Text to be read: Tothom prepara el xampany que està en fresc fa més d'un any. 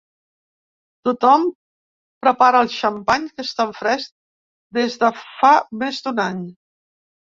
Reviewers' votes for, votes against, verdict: 0, 2, rejected